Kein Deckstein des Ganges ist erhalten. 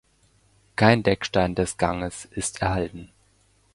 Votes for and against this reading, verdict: 2, 0, accepted